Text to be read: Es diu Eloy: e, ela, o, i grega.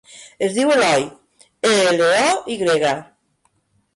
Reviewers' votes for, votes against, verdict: 0, 2, rejected